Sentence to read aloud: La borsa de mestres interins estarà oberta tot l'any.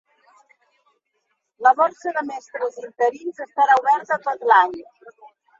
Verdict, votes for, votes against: accepted, 2, 0